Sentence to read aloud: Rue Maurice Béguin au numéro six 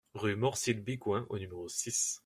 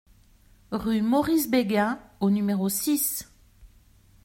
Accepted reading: second